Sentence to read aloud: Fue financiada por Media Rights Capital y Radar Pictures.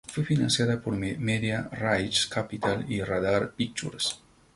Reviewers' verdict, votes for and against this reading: rejected, 0, 2